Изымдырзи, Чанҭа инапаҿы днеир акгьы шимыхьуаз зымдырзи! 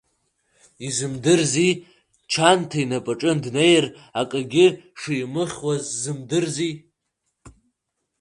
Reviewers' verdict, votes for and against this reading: rejected, 1, 2